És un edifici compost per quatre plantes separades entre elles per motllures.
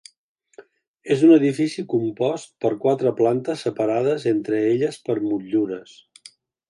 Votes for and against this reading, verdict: 3, 0, accepted